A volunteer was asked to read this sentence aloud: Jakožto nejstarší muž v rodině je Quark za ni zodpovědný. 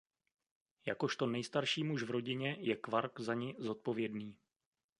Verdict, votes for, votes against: accepted, 2, 0